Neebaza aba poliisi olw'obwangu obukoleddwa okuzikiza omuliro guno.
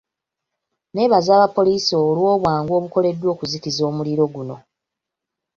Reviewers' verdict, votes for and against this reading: accepted, 2, 0